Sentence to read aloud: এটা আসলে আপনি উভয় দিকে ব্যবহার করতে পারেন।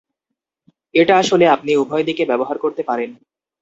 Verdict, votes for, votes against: accepted, 2, 0